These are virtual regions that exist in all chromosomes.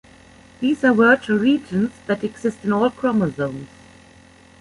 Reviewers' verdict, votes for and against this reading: rejected, 1, 2